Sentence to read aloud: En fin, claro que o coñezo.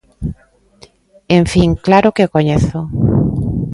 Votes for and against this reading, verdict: 2, 0, accepted